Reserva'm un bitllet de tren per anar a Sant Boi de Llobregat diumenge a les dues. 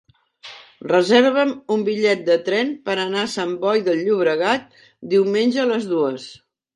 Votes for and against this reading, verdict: 2, 1, accepted